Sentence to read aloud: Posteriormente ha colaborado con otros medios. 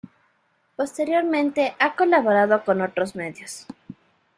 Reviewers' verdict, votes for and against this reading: accepted, 2, 1